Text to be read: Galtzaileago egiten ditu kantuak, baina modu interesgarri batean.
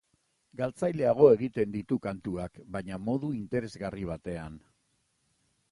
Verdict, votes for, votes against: accepted, 2, 0